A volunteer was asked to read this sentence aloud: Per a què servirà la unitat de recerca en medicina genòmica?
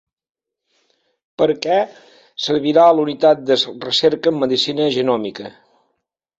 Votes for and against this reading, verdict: 0, 2, rejected